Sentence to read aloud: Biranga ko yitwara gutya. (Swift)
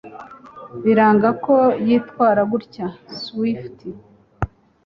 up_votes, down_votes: 4, 0